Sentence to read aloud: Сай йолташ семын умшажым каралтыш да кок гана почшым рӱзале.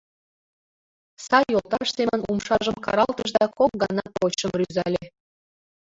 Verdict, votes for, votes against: accepted, 2, 0